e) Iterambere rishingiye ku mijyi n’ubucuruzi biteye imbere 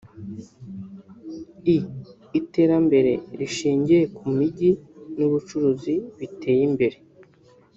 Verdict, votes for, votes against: accepted, 2, 0